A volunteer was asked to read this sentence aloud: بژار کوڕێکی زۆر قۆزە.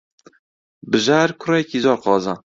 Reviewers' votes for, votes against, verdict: 2, 0, accepted